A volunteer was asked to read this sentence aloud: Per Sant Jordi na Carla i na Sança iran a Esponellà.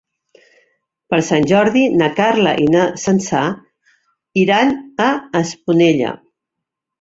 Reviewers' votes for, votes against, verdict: 1, 2, rejected